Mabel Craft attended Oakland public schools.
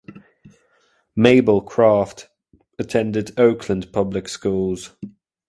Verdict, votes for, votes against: accepted, 2, 0